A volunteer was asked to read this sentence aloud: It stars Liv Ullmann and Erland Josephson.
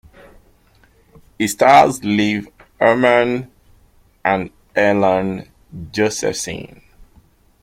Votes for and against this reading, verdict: 2, 0, accepted